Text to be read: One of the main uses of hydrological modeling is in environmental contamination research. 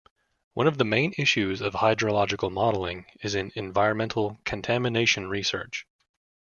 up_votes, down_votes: 0, 2